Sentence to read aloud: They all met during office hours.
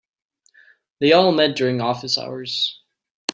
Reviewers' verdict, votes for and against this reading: accepted, 2, 1